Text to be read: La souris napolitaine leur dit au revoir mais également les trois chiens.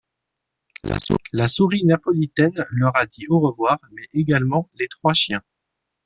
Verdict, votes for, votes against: rejected, 0, 2